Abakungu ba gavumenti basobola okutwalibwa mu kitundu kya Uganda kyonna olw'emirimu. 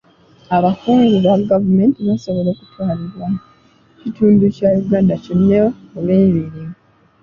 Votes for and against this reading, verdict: 0, 2, rejected